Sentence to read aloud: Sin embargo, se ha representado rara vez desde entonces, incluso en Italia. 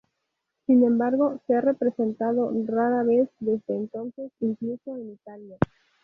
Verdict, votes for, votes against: accepted, 2, 0